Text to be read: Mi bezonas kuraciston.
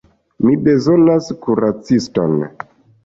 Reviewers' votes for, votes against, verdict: 2, 1, accepted